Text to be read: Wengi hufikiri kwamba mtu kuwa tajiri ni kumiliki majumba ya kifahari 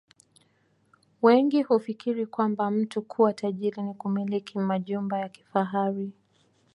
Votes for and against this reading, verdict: 2, 0, accepted